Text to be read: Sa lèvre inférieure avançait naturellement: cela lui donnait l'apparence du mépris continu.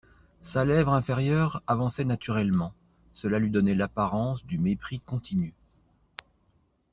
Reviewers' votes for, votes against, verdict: 2, 0, accepted